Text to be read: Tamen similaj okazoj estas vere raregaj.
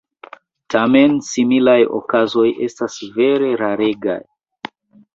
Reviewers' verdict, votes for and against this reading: rejected, 0, 2